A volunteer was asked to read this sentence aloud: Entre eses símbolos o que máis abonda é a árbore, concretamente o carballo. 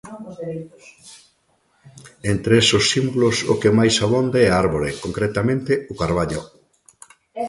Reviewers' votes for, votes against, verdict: 0, 2, rejected